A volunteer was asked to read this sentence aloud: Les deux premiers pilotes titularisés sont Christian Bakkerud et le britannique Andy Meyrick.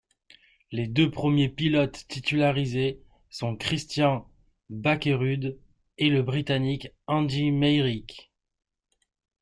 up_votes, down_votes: 2, 0